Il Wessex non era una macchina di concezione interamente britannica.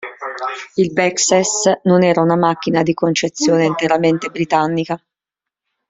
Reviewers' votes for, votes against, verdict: 0, 2, rejected